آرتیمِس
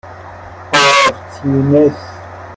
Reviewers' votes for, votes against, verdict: 0, 2, rejected